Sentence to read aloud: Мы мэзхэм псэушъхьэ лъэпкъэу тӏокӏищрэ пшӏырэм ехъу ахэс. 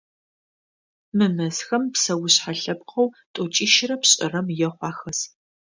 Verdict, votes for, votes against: accepted, 2, 0